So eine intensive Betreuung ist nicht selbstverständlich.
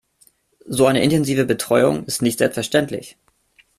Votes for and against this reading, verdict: 2, 0, accepted